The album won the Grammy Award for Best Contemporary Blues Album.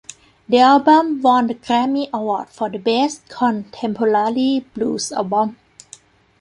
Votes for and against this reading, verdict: 2, 1, accepted